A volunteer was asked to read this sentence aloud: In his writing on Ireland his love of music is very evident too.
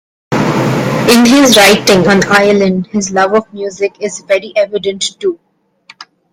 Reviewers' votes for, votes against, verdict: 1, 2, rejected